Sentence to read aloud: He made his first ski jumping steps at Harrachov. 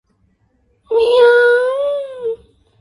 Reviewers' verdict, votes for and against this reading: rejected, 0, 2